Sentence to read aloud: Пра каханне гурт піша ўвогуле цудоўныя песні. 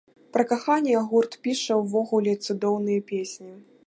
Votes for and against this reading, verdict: 2, 0, accepted